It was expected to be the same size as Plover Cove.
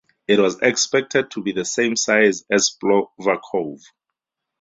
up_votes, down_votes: 2, 2